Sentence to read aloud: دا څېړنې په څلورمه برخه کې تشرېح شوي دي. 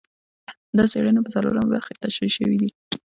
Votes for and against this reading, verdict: 2, 0, accepted